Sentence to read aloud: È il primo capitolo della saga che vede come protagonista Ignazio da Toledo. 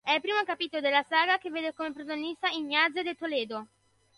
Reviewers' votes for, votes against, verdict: 0, 2, rejected